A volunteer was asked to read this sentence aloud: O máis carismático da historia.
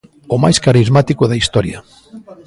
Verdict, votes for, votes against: accepted, 2, 1